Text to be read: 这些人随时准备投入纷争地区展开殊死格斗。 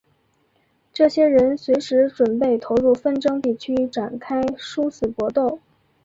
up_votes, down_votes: 3, 2